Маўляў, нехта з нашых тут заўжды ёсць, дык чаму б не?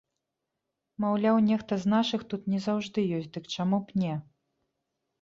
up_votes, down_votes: 0, 2